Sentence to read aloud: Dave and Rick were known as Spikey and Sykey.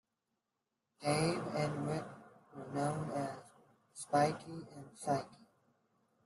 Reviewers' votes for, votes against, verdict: 0, 2, rejected